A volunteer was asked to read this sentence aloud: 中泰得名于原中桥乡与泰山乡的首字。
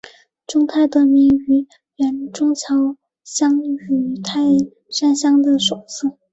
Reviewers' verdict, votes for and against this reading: rejected, 1, 2